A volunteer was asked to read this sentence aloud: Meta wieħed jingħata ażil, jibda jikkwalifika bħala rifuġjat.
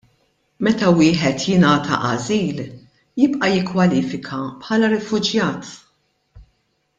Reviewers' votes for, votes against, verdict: 0, 2, rejected